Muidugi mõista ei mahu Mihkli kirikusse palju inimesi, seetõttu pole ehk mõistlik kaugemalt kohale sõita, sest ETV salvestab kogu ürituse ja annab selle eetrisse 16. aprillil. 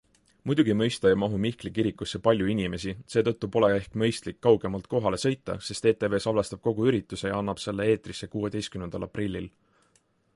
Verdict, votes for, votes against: rejected, 0, 2